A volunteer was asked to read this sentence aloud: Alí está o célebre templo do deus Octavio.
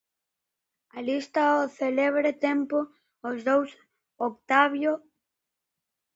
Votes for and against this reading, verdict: 0, 2, rejected